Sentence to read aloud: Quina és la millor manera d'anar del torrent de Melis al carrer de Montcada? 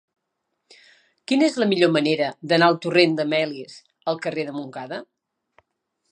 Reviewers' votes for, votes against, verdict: 0, 2, rejected